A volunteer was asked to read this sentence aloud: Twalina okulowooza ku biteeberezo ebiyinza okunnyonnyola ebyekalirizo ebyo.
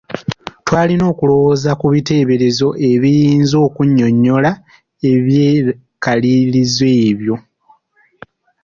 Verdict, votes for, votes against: rejected, 1, 2